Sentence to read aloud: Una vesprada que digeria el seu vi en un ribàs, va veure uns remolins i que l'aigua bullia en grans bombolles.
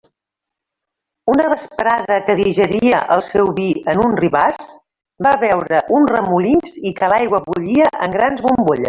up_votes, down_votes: 0, 2